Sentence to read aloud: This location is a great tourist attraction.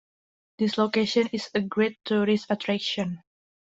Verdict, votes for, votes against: accepted, 2, 0